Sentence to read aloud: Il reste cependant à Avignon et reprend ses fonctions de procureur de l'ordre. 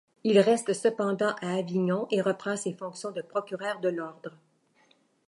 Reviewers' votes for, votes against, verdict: 2, 0, accepted